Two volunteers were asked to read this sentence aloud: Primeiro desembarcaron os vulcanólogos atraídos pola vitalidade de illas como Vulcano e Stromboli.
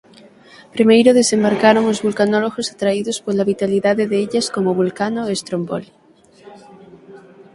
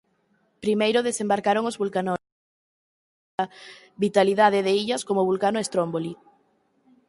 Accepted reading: first